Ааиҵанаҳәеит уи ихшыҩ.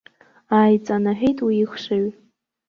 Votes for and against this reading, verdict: 0, 2, rejected